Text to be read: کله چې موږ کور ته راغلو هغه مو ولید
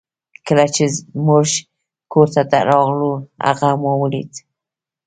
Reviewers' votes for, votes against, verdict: 1, 2, rejected